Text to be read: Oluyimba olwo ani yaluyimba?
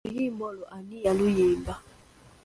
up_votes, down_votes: 2, 0